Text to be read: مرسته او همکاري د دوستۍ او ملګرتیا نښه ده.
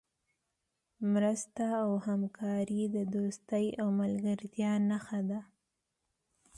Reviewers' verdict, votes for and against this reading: accepted, 2, 0